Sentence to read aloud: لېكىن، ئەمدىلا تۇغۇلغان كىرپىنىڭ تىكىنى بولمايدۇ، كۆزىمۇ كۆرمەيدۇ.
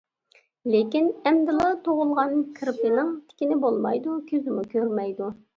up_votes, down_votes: 2, 0